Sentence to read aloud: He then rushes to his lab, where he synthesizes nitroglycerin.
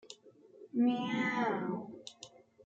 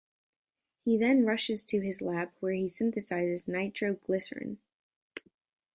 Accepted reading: second